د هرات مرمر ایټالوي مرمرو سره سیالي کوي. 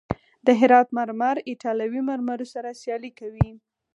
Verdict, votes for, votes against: accepted, 4, 0